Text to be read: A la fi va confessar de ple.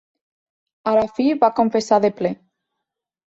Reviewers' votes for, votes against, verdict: 3, 1, accepted